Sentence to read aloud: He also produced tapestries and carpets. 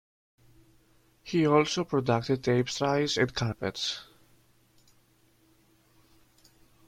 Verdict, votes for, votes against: rejected, 0, 2